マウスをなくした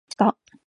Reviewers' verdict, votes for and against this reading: rejected, 0, 2